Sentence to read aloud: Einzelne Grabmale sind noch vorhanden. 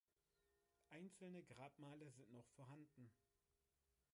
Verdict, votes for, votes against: rejected, 1, 3